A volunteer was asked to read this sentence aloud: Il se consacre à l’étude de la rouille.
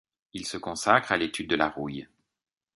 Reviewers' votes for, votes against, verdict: 2, 0, accepted